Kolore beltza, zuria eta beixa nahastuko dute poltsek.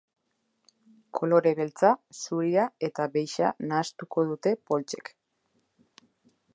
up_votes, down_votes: 3, 0